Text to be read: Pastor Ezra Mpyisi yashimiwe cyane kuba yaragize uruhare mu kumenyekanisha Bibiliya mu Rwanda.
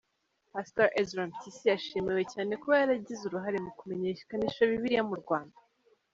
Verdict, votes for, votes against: accepted, 2, 0